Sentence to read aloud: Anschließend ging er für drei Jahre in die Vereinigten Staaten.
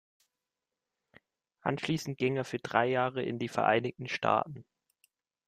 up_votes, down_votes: 2, 0